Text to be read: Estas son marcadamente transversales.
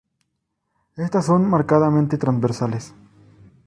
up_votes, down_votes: 0, 2